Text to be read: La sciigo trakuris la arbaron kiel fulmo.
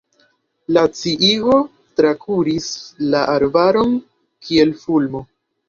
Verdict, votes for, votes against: accepted, 2, 0